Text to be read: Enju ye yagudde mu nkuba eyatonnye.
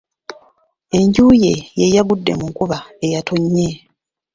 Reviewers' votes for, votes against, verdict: 2, 1, accepted